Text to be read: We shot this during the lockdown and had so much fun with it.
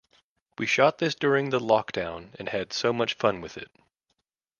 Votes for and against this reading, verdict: 2, 0, accepted